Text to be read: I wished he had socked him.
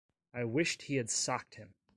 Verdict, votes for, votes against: accepted, 2, 0